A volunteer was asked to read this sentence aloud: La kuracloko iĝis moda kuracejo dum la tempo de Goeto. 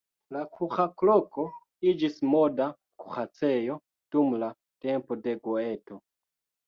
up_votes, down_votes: 1, 2